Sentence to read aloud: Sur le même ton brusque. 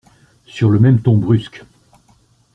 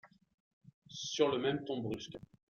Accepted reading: first